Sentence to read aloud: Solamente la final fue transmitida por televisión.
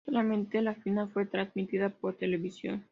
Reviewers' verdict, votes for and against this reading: accepted, 2, 0